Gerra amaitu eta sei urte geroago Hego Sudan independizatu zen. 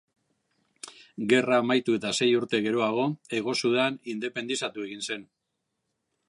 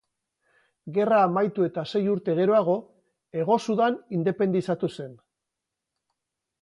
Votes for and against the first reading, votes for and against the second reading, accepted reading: 1, 2, 4, 0, second